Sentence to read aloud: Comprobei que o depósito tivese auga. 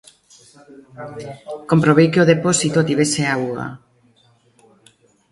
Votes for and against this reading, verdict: 0, 2, rejected